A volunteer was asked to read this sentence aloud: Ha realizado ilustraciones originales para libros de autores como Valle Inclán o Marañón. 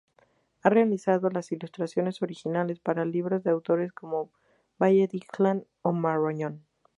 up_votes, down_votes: 0, 2